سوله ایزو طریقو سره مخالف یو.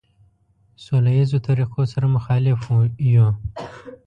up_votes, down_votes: 1, 2